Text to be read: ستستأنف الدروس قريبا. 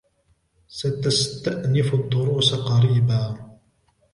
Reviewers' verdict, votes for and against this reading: accepted, 3, 0